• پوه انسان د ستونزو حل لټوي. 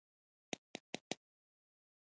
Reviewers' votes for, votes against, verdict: 0, 2, rejected